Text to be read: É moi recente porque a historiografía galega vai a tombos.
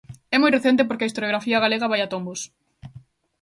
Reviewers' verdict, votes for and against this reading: accepted, 2, 0